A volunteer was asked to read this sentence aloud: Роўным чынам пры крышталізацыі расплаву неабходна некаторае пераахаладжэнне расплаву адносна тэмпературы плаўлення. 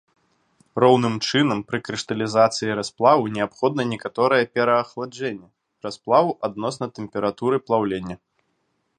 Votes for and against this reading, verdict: 1, 2, rejected